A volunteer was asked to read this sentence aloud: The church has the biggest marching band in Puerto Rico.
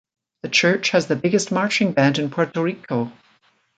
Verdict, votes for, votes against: accepted, 2, 0